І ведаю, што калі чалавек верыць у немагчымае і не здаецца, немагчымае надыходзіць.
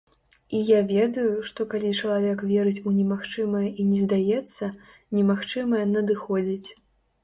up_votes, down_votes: 0, 2